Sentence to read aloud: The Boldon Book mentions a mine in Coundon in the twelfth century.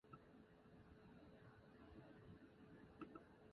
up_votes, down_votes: 0, 2